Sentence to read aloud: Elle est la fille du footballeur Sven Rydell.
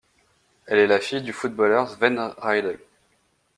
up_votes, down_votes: 1, 2